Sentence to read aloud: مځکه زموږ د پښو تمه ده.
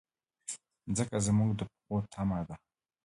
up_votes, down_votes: 1, 2